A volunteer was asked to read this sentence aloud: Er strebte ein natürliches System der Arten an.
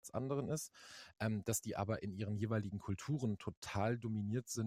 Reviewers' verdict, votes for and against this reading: rejected, 0, 2